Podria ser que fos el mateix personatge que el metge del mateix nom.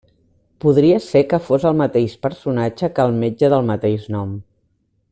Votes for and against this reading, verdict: 2, 0, accepted